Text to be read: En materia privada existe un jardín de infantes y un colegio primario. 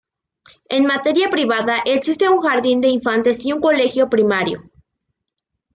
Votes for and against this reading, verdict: 2, 0, accepted